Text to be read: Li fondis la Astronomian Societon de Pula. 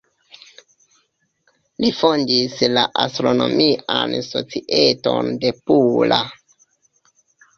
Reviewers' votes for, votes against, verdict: 1, 2, rejected